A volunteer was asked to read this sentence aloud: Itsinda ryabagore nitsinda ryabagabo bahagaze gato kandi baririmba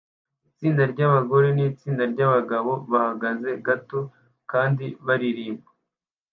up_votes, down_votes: 2, 0